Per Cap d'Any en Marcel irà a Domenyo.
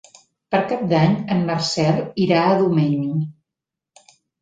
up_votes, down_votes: 0, 2